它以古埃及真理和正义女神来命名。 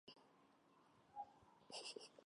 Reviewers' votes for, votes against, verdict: 1, 2, rejected